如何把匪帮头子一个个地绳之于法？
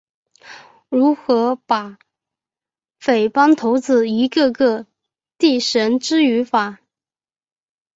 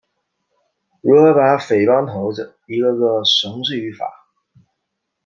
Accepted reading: first